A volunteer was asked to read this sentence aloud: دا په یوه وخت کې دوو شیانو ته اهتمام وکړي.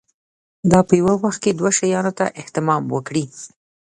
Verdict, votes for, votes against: accepted, 2, 0